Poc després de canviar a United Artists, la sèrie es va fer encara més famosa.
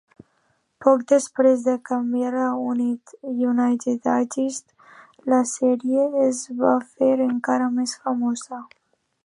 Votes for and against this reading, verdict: 2, 0, accepted